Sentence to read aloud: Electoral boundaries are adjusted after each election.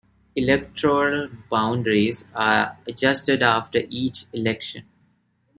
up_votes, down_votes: 2, 0